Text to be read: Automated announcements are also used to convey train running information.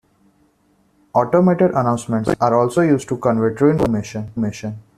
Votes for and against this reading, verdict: 0, 2, rejected